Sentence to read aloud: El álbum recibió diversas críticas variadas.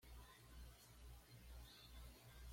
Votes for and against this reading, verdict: 1, 2, rejected